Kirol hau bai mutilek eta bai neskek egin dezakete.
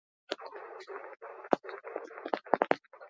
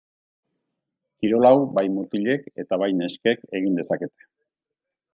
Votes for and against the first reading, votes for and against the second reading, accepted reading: 0, 4, 2, 1, second